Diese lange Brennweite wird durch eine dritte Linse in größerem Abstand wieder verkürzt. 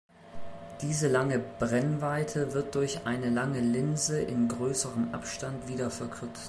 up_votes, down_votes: 0, 2